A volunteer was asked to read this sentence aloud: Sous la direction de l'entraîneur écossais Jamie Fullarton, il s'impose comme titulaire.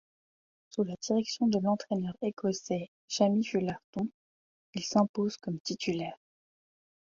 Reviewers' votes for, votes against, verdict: 2, 1, accepted